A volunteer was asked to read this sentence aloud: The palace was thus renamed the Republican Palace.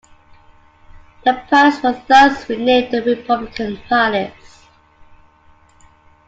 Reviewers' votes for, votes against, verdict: 2, 1, accepted